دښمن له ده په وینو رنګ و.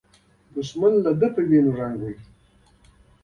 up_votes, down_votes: 2, 1